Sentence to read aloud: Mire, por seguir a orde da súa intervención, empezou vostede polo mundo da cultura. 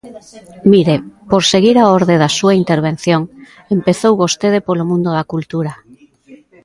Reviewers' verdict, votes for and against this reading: accepted, 2, 0